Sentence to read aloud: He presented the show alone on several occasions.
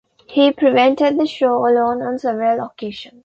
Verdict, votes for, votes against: rejected, 1, 2